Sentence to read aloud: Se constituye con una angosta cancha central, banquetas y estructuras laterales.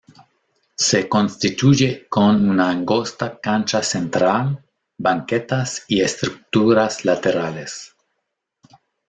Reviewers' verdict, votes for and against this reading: rejected, 1, 2